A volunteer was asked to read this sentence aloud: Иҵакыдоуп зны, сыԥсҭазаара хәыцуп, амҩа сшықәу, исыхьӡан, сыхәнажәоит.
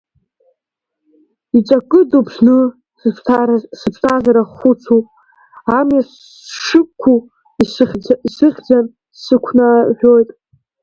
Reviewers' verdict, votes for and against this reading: rejected, 0, 2